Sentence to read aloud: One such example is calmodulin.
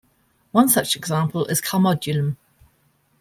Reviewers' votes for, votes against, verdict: 0, 2, rejected